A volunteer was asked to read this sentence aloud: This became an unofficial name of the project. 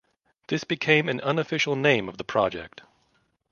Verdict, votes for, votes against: accepted, 2, 0